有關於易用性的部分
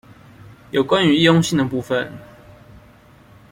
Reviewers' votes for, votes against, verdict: 2, 0, accepted